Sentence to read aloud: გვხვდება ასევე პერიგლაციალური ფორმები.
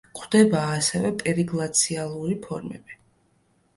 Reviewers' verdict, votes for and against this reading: accepted, 2, 1